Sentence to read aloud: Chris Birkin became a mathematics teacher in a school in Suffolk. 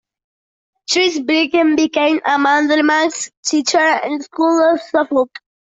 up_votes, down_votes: 0, 2